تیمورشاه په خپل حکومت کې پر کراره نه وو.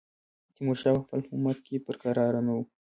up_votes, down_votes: 2, 1